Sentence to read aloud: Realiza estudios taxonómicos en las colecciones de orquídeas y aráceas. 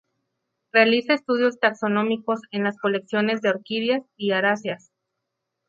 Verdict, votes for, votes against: rejected, 0, 2